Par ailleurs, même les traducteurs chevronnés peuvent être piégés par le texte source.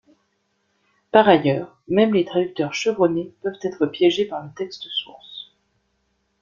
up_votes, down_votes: 1, 2